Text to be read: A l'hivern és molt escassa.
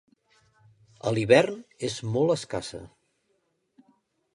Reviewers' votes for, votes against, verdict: 2, 0, accepted